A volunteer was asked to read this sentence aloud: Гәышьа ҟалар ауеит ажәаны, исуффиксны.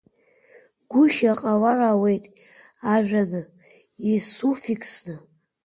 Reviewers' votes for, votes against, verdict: 2, 1, accepted